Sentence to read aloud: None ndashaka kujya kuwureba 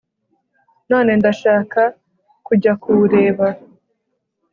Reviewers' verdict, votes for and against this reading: accepted, 2, 0